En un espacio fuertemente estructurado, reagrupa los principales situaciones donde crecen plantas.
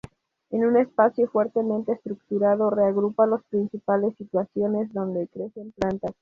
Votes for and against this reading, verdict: 2, 2, rejected